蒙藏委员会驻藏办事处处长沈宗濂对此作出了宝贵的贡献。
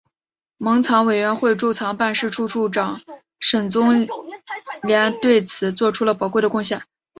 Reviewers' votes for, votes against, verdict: 3, 0, accepted